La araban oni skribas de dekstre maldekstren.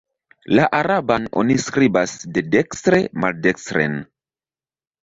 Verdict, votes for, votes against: accepted, 2, 1